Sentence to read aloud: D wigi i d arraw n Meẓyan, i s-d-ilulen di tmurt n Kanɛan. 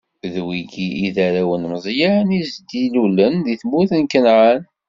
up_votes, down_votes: 2, 0